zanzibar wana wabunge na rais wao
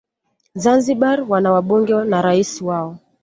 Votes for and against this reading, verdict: 2, 0, accepted